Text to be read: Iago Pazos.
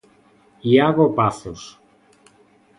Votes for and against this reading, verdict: 2, 0, accepted